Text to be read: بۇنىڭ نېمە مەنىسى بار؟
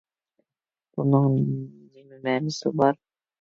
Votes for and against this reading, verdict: 0, 2, rejected